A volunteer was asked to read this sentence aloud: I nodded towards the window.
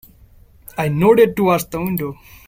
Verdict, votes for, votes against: rejected, 1, 2